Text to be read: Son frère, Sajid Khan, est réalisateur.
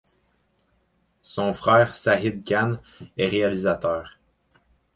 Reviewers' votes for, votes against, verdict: 4, 0, accepted